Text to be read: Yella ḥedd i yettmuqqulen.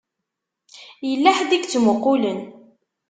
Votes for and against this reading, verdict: 2, 0, accepted